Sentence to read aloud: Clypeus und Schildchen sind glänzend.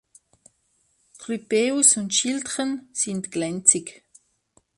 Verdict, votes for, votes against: rejected, 1, 2